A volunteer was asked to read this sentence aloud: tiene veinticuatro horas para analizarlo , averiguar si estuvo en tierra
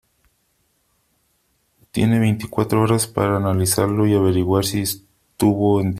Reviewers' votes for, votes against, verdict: 0, 2, rejected